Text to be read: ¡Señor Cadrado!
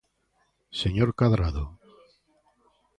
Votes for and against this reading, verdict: 2, 0, accepted